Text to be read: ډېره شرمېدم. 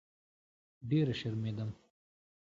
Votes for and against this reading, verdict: 2, 1, accepted